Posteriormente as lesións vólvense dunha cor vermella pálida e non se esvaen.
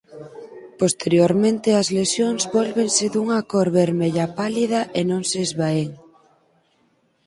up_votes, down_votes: 4, 0